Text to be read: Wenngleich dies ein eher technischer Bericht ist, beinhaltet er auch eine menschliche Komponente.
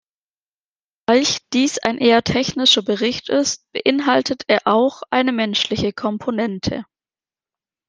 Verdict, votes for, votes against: rejected, 0, 2